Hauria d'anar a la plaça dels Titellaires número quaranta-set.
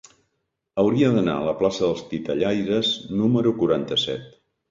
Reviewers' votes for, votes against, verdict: 2, 0, accepted